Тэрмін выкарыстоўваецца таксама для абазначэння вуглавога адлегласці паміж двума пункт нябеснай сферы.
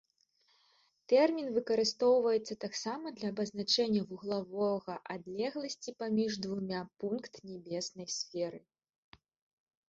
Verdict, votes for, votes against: accepted, 2, 0